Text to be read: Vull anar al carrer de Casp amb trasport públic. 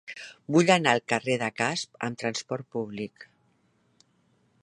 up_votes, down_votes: 4, 0